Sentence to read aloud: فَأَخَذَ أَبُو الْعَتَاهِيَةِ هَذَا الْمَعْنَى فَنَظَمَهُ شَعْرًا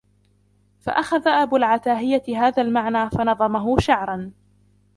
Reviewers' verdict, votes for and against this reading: accepted, 2, 0